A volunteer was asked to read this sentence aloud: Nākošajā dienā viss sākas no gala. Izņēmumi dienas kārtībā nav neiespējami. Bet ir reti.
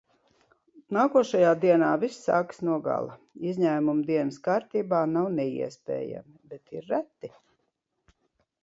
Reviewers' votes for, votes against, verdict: 2, 0, accepted